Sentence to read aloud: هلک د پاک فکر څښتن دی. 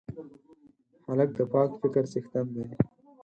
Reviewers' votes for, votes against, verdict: 4, 0, accepted